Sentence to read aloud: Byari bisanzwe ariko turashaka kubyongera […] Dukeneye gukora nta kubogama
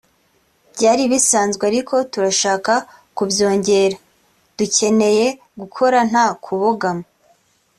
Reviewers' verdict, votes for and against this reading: accepted, 2, 0